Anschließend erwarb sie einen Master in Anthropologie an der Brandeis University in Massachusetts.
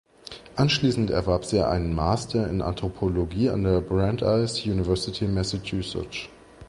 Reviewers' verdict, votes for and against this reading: rejected, 1, 2